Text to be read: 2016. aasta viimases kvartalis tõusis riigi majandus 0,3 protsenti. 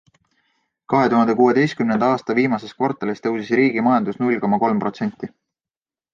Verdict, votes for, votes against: rejected, 0, 2